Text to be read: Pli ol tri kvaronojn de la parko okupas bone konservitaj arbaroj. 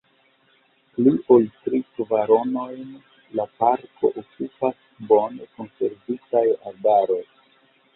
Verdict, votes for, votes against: rejected, 1, 2